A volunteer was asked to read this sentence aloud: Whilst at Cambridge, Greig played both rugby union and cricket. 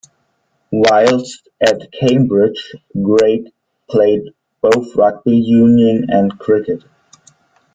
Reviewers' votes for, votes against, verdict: 2, 1, accepted